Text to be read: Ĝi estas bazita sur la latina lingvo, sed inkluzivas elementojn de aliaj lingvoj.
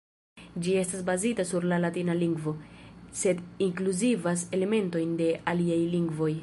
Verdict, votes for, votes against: rejected, 0, 2